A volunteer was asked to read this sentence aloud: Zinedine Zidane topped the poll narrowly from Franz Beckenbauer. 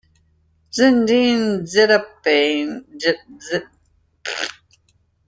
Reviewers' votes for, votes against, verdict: 0, 2, rejected